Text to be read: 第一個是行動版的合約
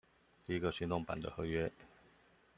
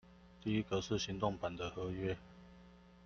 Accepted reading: second